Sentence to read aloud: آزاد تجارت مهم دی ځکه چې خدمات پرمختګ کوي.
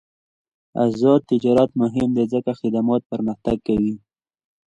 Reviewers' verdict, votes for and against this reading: accepted, 2, 0